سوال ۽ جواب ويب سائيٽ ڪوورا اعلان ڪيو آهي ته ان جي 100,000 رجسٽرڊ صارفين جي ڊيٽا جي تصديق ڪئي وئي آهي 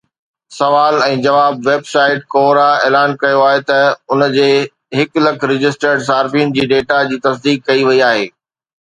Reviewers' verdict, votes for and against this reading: rejected, 0, 2